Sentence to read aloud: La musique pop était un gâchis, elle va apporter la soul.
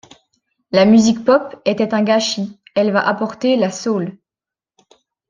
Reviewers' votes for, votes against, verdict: 2, 0, accepted